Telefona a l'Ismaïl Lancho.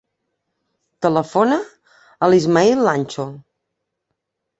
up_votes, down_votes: 3, 0